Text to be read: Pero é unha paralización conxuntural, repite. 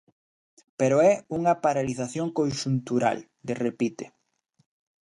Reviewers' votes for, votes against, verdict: 1, 2, rejected